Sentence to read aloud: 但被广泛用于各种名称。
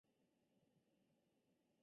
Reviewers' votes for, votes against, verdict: 0, 7, rejected